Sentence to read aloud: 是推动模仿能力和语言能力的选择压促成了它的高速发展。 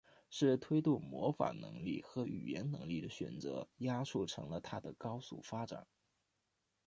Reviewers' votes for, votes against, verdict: 0, 2, rejected